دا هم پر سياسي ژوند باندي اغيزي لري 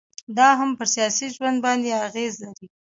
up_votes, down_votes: 2, 0